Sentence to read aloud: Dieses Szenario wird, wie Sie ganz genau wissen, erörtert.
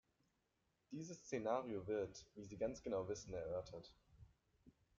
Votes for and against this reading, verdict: 2, 1, accepted